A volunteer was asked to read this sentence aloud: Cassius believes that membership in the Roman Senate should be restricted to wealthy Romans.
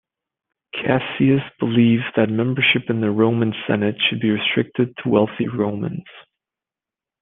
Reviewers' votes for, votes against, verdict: 0, 2, rejected